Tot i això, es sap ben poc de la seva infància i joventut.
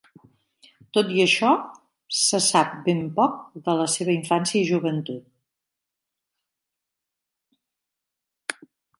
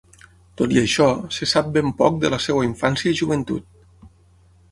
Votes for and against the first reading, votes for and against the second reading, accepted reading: 2, 0, 0, 6, first